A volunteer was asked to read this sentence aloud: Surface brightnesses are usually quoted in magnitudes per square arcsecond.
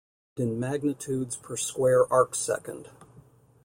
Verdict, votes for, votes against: rejected, 0, 2